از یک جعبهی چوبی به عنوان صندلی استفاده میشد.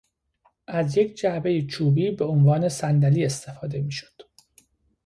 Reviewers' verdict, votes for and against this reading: accepted, 2, 0